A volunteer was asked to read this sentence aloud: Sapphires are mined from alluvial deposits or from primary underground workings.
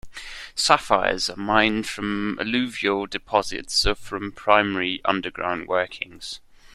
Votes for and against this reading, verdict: 2, 0, accepted